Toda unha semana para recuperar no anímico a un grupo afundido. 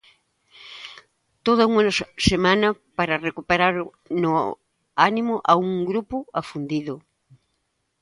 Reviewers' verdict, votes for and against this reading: rejected, 0, 2